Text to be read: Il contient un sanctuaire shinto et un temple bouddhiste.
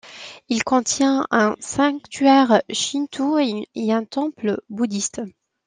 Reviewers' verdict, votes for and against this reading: accepted, 2, 1